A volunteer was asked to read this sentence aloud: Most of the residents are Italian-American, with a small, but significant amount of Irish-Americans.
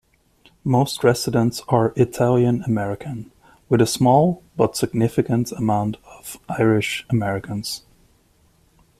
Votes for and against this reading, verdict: 0, 2, rejected